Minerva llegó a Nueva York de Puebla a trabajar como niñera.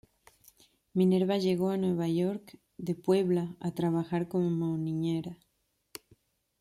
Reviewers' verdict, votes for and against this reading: rejected, 1, 2